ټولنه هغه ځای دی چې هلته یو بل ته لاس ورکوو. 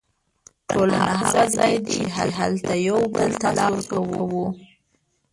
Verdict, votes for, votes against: rejected, 0, 2